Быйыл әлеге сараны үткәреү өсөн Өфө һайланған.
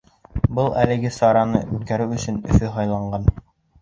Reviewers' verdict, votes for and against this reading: rejected, 1, 2